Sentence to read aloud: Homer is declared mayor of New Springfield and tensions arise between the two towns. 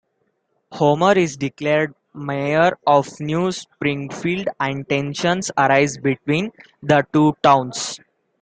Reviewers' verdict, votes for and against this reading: accepted, 2, 0